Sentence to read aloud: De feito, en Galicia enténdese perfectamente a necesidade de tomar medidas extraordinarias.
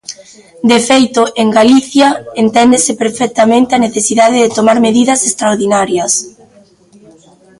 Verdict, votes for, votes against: rejected, 0, 2